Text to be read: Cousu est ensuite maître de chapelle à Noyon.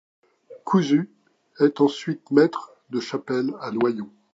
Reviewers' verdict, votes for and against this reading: accepted, 2, 0